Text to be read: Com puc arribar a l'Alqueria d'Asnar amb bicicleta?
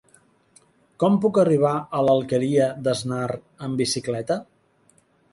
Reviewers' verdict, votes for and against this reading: accepted, 2, 0